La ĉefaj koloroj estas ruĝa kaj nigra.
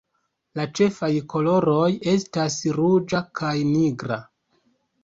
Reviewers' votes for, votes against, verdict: 2, 0, accepted